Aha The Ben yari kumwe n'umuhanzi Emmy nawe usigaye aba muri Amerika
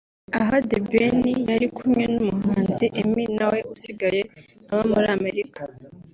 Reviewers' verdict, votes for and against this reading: accepted, 4, 0